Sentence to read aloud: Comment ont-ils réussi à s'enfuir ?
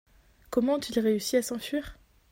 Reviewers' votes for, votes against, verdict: 2, 0, accepted